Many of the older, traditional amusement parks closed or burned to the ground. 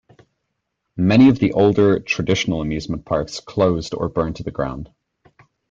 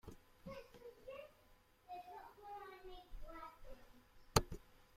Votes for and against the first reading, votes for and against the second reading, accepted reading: 2, 0, 0, 2, first